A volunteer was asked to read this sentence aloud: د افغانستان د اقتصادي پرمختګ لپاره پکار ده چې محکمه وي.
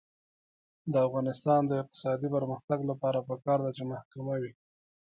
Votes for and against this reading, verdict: 0, 2, rejected